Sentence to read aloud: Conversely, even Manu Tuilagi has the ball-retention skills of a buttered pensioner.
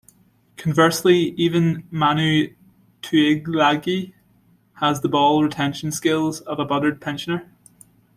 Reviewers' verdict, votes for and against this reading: rejected, 0, 2